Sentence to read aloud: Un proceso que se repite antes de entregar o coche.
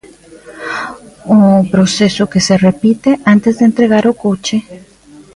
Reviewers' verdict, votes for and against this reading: accepted, 2, 1